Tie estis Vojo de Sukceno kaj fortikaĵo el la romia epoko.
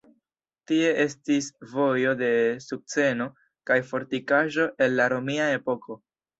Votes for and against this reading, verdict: 2, 0, accepted